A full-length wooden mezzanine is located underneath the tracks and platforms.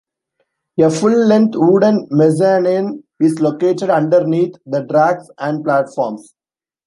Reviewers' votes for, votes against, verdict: 2, 1, accepted